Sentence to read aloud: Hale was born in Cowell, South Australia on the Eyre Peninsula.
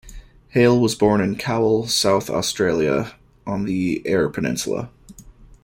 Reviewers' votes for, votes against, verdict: 2, 0, accepted